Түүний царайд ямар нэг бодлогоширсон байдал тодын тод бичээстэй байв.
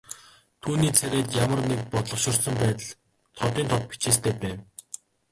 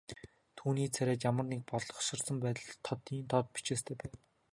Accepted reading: second